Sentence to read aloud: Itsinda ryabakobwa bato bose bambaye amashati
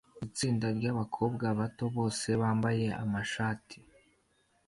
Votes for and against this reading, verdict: 2, 0, accepted